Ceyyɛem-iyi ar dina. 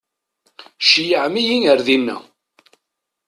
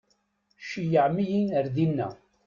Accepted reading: first